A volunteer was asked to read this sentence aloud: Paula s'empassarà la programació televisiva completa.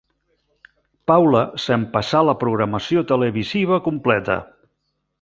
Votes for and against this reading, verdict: 1, 2, rejected